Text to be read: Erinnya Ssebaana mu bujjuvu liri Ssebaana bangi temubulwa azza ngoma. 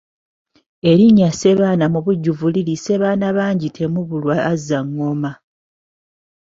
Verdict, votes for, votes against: accepted, 2, 0